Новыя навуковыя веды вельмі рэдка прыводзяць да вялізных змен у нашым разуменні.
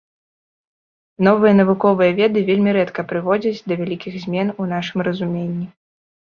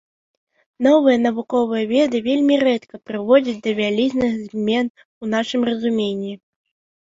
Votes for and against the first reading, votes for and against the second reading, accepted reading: 1, 2, 3, 0, second